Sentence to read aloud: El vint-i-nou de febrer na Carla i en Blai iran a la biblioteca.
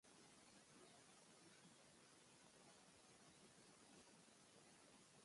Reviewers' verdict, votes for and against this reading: rejected, 0, 2